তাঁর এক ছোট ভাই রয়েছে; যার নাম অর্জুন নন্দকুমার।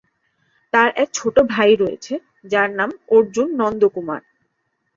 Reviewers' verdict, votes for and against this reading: accepted, 3, 0